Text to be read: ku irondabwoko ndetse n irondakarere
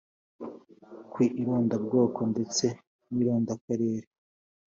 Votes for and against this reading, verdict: 2, 0, accepted